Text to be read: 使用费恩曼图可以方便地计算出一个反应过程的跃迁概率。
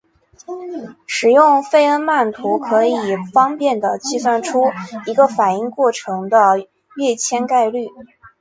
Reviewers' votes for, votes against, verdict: 2, 1, accepted